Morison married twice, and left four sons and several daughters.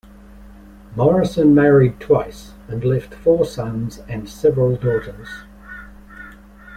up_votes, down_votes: 2, 0